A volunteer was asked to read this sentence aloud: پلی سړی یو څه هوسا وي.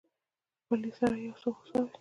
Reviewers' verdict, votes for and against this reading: rejected, 1, 2